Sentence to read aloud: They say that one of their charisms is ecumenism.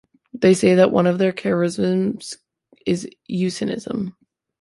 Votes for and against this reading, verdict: 1, 2, rejected